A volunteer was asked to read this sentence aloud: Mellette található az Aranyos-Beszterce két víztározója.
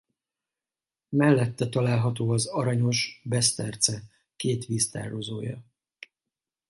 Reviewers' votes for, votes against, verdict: 4, 0, accepted